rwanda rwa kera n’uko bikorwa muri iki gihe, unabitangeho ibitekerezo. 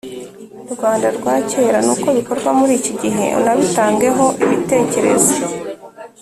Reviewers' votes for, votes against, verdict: 3, 0, accepted